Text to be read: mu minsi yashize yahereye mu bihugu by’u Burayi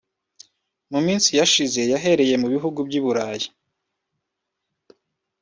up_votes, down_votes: 2, 0